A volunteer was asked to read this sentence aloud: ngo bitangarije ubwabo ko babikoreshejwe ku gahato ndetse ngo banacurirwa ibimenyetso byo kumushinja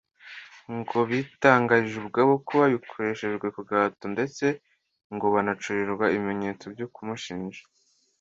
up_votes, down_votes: 2, 0